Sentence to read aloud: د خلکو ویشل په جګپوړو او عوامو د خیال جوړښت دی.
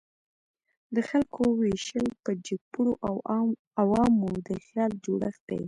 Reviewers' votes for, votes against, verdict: 3, 1, accepted